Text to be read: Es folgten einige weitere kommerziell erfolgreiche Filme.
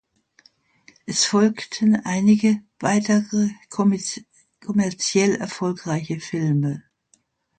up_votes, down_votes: 0, 2